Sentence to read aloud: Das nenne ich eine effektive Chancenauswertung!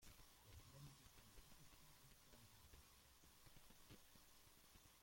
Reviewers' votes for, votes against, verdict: 0, 2, rejected